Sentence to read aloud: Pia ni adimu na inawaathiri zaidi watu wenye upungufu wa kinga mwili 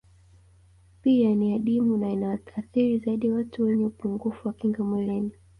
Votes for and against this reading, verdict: 2, 1, accepted